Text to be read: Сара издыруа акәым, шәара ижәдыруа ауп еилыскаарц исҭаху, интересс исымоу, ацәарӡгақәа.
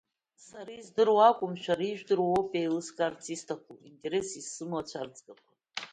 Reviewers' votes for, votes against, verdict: 2, 1, accepted